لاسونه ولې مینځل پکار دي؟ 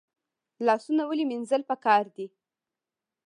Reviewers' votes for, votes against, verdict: 2, 0, accepted